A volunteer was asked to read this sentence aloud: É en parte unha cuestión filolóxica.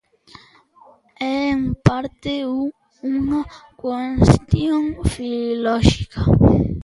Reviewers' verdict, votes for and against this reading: rejected, 0, 2